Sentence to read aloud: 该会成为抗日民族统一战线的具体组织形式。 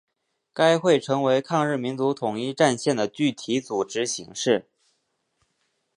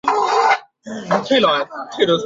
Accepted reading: first